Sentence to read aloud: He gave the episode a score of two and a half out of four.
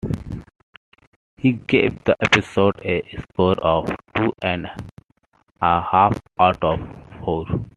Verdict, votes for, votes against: accepted, 2, 0